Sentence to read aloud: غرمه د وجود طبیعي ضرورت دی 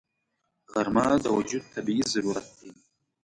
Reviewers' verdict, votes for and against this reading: rejected, 0, 2